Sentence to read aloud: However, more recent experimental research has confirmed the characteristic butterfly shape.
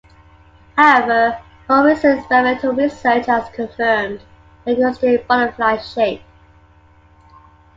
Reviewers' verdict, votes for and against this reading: rejected, 0, 2